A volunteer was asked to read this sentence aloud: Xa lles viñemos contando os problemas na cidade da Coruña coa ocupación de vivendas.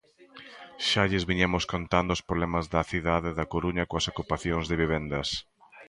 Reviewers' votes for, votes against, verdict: 0, 2, rejected